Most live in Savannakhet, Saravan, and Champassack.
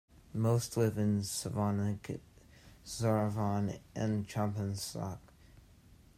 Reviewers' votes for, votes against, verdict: 2, 0, accepted